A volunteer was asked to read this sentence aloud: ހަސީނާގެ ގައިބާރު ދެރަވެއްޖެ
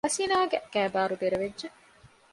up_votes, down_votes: 2, 0